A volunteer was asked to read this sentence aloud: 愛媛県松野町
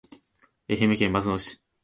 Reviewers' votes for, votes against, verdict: 1, 2, rejected